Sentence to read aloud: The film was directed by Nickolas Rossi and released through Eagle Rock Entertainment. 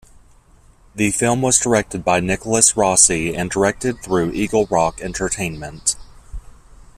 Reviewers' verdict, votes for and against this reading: rejected, 1, 2